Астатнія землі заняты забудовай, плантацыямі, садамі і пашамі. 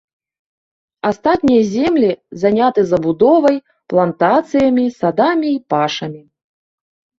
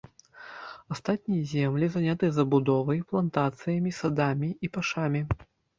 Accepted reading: first